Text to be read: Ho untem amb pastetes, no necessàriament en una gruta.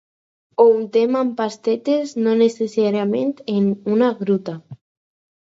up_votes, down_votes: 4, 0